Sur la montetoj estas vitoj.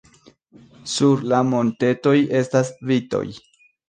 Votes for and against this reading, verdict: 2, 0, accepted